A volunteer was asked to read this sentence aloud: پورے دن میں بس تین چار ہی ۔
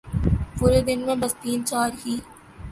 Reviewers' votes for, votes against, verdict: 2, 0, accepted